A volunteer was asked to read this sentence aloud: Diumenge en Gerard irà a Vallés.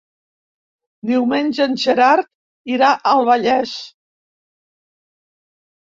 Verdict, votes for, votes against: rejected, 1, 2